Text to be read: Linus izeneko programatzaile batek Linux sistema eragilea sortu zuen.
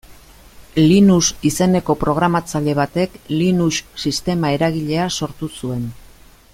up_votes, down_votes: 2, 0